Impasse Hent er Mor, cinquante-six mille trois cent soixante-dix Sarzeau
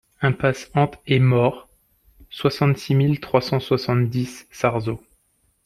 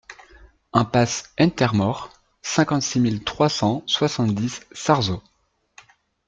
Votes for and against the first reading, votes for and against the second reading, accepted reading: 0, 2, 2, 0, second